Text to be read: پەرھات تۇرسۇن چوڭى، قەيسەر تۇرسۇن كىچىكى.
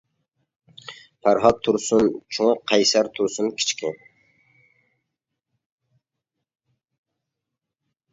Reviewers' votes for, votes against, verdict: 2, 1, accepted